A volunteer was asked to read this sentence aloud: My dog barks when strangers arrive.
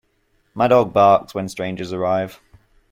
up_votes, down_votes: 2, 0